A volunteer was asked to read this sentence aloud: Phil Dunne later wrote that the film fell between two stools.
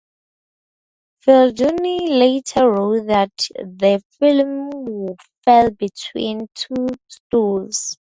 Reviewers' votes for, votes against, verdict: 4, 0, accepted